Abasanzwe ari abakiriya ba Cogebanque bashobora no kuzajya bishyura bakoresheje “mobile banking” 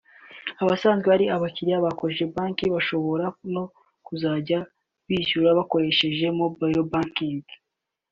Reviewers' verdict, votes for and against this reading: accepted, 2, 0